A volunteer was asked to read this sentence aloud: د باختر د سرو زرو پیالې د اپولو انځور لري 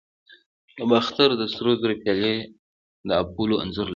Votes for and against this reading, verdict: 2, 0, accepted